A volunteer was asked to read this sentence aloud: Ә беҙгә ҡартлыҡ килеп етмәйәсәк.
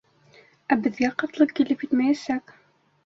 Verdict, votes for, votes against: rejected, 1, 2